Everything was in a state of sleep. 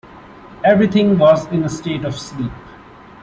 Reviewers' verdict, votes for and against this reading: accepted, 2, 0